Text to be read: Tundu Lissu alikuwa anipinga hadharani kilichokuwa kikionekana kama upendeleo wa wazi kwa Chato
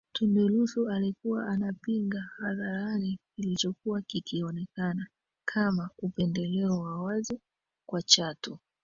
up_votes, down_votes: 1, 2